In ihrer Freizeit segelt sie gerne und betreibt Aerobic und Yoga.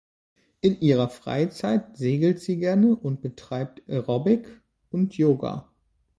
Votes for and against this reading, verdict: 2, 0, accepted